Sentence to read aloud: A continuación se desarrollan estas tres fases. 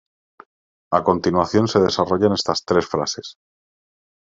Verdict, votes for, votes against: rejected, 0, 2